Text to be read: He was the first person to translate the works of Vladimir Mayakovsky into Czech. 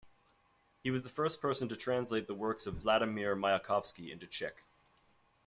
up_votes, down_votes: 2, 0